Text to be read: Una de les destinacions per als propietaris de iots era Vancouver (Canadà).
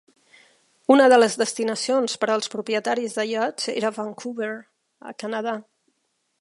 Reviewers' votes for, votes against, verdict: 1, 2, rejected